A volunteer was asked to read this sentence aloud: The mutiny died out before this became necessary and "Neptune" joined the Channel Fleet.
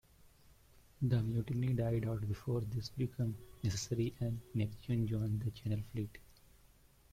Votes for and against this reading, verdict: 0, 2, rejected